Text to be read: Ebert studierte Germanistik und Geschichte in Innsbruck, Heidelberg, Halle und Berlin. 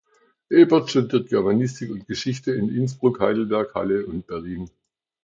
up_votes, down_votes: 0, 2